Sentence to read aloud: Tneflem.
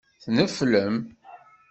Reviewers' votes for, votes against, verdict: 2, 0, accepted